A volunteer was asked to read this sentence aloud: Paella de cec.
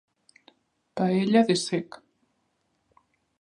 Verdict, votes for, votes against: accepted, 2, 0